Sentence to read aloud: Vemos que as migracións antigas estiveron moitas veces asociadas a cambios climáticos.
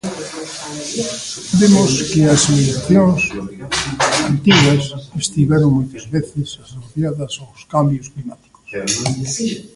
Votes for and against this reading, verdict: 0, 2, rejected